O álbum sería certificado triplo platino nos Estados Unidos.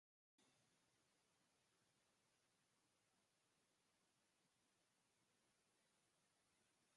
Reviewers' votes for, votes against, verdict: 0, 4, rejected